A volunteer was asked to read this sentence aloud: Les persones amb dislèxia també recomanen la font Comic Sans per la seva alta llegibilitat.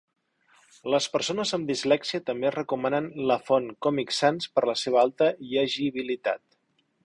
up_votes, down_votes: 2, 0